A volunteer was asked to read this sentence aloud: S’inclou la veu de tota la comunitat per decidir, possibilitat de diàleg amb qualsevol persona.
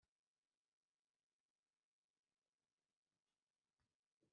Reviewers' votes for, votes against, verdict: 0, 2, rejected